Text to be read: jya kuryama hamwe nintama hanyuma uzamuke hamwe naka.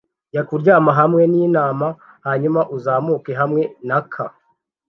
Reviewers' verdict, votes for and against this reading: accepted, 2, 0